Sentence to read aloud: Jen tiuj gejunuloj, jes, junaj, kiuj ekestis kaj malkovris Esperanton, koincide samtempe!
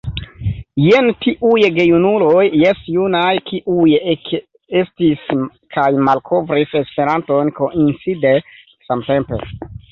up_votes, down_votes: 1, 2